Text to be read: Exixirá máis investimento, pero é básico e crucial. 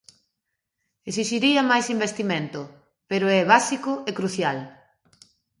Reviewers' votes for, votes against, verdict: 0, 2, rejected